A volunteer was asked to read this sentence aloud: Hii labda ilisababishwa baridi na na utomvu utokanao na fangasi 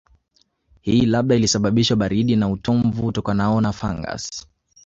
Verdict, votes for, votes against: accepted, 3, 2